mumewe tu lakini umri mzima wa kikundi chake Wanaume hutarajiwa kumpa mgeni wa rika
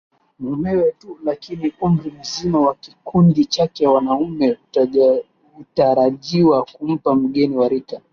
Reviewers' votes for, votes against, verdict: 0, 2, rejected